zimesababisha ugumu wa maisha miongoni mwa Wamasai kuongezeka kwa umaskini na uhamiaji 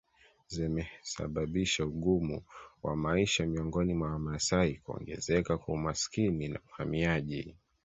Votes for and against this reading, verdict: 2, 0, accepted